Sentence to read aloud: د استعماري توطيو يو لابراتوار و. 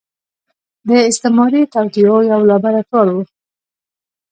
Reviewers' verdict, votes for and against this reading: accepted, 2, 0